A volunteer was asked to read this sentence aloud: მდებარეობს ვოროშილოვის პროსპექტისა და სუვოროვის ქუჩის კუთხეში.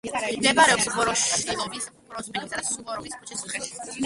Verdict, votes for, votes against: rejected, 1, 2